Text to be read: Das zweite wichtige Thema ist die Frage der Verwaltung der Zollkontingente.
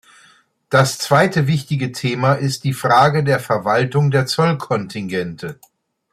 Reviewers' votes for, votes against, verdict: 2, 0, accepted